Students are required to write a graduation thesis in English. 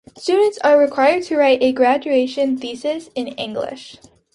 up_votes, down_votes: 3, 0